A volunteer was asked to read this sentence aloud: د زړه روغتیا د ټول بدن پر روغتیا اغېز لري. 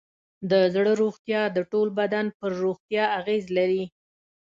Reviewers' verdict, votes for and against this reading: accepted, 3, 0